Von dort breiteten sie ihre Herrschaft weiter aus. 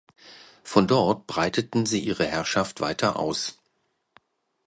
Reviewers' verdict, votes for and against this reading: accepted, 2, 0